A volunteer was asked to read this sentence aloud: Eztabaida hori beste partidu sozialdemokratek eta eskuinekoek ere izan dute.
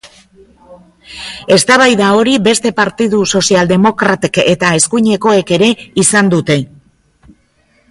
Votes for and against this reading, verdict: 2, 0, accepted